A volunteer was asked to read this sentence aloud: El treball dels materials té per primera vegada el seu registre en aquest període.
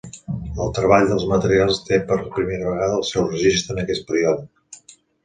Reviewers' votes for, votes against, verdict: 2, 0, accepted